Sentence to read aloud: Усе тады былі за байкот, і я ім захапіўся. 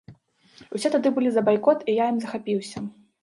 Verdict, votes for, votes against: accepted, 2, 0